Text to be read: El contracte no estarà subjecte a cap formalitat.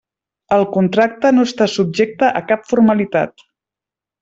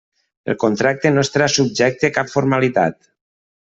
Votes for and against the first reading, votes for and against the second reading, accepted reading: 0, 2, 2, 0, second